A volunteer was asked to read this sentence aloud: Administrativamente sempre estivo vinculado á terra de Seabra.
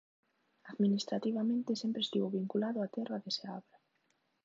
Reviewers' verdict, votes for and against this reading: accepted, 2, 1